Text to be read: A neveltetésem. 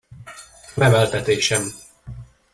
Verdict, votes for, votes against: rejected, 0, 2